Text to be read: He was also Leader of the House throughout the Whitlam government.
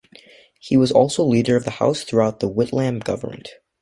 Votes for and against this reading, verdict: 2, 0, accepted